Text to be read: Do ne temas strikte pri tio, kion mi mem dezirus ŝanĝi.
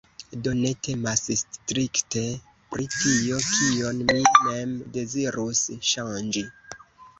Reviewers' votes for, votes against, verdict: 2, 0, accepted